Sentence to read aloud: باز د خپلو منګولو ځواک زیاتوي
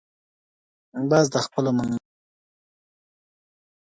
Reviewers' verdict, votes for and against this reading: rejected, 0, 2